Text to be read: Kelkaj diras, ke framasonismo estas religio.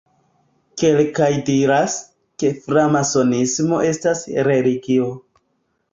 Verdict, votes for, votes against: accepted, 2, 0